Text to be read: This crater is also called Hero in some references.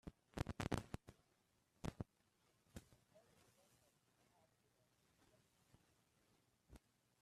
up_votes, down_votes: 0, 2